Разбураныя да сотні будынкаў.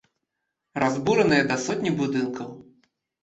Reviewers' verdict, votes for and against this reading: accepted, 2, 0